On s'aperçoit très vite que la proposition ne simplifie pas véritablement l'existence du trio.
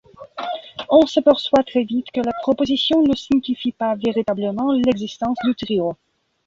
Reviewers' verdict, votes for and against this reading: rejected, 1, 2